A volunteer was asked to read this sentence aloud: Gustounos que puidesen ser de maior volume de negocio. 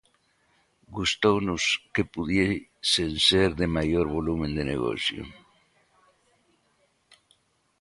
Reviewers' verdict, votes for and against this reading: rejected, 0, 2